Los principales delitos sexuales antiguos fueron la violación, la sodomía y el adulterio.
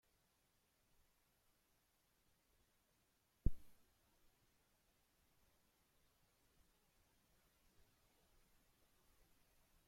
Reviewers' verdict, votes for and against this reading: rejected, 0, 2